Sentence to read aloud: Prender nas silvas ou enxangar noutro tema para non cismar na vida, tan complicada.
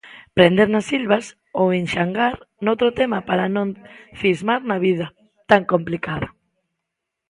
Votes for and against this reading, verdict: 2, 0, accepted